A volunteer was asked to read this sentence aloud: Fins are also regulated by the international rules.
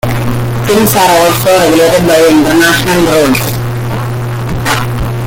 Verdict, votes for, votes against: rejected, 0, 2